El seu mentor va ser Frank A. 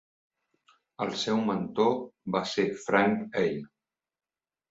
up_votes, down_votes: 1, 2